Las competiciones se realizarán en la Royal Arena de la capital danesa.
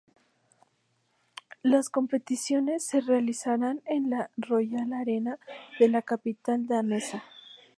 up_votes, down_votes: 6, 0